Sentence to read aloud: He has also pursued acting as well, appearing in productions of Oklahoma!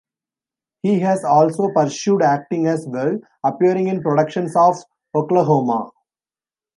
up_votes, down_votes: 2, 0